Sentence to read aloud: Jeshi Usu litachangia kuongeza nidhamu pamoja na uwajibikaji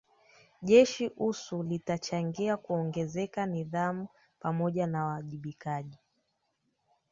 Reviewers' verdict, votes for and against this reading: rejected, 0, 2